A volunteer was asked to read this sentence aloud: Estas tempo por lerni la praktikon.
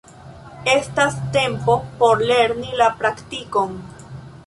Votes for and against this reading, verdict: 1, 2, rejected